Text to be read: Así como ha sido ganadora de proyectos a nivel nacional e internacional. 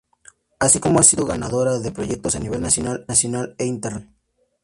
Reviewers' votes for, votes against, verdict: 0, 2, rejected